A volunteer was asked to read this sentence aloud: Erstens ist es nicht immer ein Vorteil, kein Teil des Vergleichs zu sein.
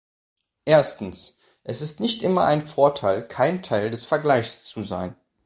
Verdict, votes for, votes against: rejected, 1, 2